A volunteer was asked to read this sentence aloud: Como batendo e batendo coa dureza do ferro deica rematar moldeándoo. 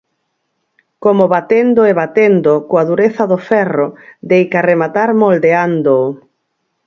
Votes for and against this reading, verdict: 4, 0, accepted